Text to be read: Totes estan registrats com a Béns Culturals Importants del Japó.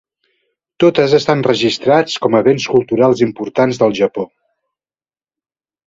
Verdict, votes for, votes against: accepted, 2, 0